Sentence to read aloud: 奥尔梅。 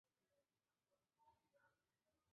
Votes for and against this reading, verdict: 0, 3, rejected